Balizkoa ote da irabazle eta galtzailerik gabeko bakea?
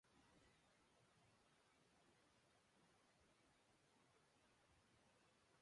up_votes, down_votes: 0, 2